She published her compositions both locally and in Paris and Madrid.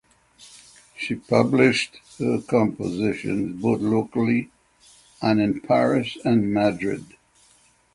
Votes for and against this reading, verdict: 0, 6, rejected